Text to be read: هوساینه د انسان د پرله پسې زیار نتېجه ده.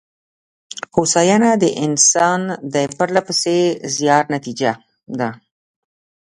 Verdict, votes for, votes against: rejected, 0, 2